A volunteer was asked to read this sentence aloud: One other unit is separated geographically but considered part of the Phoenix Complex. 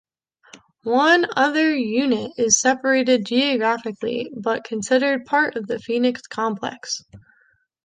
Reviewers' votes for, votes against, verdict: 2, 0, accepted